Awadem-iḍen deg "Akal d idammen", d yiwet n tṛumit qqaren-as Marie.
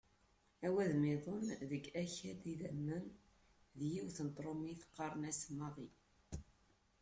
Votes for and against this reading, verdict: 0, 2, rejected